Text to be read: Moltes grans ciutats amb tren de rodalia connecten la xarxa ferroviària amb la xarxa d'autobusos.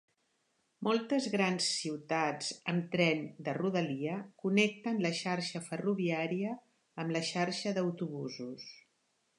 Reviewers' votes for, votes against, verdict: 4, 0, accepted